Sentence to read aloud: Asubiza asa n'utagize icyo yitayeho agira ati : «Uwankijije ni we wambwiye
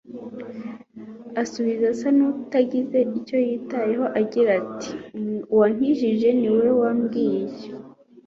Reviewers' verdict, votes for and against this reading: accepted, 2, 0